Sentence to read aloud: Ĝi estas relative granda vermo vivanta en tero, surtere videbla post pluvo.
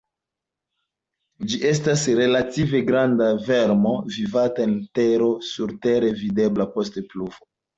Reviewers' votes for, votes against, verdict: 2, 0, accepted